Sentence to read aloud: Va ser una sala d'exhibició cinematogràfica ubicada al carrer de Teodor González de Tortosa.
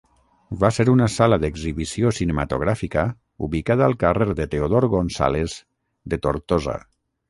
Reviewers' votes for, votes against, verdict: 3, 3, rejected